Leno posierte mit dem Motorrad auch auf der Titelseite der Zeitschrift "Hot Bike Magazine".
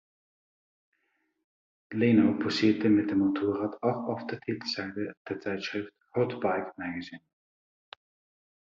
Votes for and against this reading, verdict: 2, 0, accepted